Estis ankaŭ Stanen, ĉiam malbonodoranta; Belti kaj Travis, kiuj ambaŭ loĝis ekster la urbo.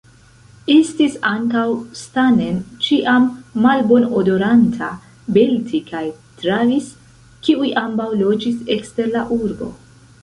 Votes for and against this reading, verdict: 1, 2, rejected